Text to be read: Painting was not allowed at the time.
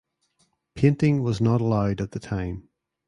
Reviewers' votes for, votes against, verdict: 2, 0, accepted